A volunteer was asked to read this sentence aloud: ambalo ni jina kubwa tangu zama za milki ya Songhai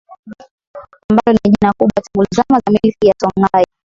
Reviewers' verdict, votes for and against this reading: rejected, 0, 2